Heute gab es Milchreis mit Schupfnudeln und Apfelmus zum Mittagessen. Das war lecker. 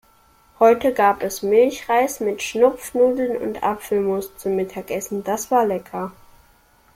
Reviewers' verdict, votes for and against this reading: rejected, 0, 2